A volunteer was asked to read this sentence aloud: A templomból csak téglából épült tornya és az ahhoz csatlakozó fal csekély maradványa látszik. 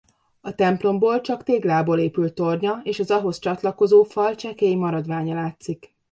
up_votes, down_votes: 2, 0